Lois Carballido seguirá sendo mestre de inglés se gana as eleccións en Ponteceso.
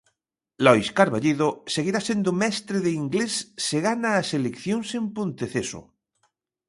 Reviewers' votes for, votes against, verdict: 2, 0, accepted